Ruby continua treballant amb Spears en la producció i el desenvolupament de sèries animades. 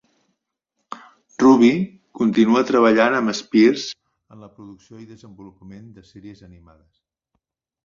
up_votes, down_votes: 1, 2